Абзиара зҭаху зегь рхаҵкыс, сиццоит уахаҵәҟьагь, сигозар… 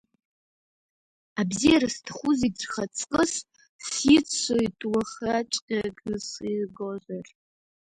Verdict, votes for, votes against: rejected, 1, 2